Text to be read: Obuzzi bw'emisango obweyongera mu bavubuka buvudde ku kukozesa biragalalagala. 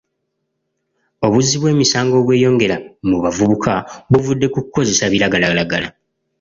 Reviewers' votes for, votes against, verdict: 2, 0, accepted